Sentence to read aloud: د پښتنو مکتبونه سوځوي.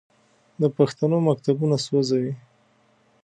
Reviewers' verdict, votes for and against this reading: accepted, 2, 0